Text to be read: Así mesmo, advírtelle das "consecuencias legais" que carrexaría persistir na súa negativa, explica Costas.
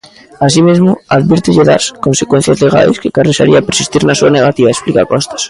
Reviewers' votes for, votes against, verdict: 2, 0, accepted